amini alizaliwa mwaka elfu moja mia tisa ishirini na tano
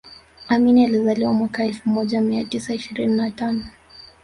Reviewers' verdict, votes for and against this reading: rejected, 1, 2